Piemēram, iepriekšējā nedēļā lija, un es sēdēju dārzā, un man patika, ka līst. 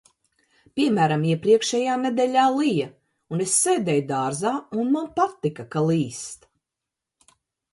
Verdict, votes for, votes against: accepted, 2, 0